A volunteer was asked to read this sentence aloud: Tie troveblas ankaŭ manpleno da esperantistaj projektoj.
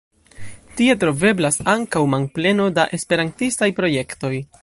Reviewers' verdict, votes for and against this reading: rejected, 1, 2